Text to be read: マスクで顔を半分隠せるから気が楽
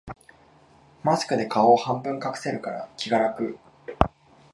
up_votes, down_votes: 2, 0